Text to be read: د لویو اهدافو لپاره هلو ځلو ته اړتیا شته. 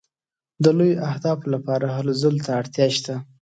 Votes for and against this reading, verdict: 2, 0, accepted